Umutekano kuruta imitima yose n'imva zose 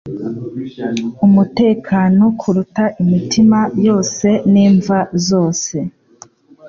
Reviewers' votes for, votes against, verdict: 2, 0, accepted